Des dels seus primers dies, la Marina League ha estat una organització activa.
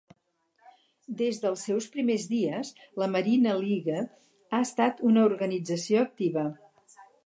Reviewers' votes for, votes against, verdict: 0, 2, rejected